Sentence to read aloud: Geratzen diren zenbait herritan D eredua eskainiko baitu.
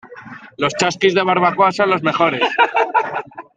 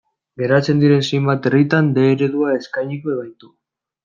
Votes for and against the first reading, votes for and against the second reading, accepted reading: 0, 2, 2, 1, second